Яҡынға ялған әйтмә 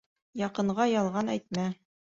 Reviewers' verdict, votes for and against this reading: accepted, 2, 0